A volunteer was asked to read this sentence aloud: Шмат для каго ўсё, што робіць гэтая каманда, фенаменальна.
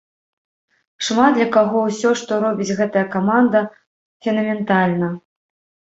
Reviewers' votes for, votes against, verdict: 0, 2, rejected